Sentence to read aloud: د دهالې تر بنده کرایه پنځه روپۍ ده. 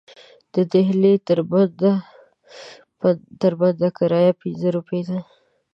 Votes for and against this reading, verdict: 1, 2, rejected